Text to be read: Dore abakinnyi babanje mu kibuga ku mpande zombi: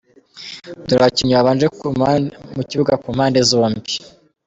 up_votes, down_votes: 1, 2